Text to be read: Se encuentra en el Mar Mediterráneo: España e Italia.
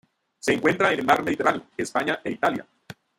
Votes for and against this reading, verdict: 0, 2, rejected